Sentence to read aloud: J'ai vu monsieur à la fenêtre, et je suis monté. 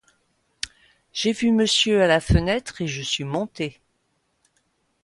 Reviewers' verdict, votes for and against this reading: accepted, 2, 0